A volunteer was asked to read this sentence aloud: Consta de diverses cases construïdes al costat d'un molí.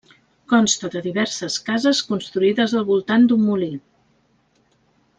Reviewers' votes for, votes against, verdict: 1, 2, rejected